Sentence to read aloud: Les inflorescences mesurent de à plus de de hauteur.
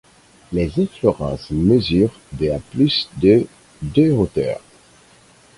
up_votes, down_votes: 4, 2